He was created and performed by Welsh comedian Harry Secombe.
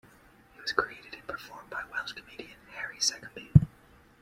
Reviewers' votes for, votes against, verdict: 3, 2, accepted